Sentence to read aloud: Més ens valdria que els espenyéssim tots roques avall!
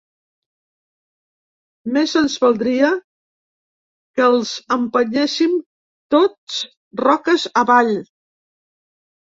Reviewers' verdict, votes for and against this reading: rejected, 0, 2